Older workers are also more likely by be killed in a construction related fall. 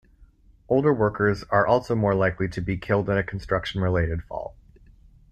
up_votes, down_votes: 1, 2